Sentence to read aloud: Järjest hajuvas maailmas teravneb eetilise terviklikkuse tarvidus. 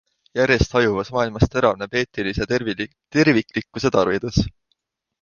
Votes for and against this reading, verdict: 0, 3, rejected